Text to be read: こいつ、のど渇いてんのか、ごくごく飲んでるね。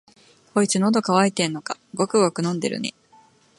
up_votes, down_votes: 2, 0